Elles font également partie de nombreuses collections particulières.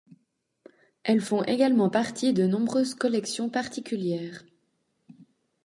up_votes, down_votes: 2, 0